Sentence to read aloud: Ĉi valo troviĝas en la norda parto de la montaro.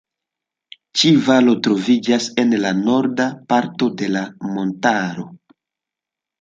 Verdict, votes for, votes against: accepted, 2, 0